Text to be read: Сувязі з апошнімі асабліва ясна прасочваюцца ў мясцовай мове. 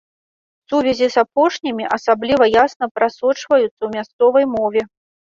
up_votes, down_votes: 3, 0